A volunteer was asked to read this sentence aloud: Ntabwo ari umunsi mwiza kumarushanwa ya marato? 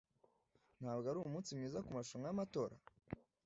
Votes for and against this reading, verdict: 1, 2, rejected